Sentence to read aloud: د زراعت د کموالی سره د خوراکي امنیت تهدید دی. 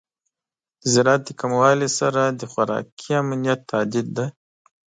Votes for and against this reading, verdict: 2, 0, accepted